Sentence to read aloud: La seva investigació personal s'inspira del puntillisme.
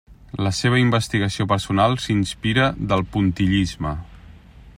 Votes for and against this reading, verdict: 3, 0, accepted